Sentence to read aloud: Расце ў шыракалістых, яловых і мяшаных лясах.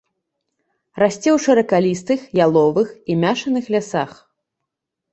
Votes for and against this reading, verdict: 1, 2, rejected